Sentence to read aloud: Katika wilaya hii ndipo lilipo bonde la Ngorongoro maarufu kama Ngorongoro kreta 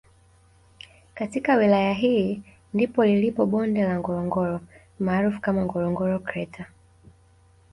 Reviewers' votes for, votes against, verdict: 2, 0, accepted